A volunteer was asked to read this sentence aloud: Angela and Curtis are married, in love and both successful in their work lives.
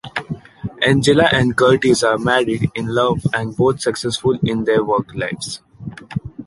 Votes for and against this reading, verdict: 2, 0, accepted